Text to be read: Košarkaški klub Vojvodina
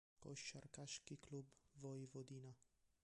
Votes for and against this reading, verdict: 0, 2, rejected